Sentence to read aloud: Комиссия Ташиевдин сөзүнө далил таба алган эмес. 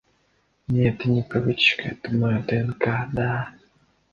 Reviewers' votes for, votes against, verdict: 0, 2, rejected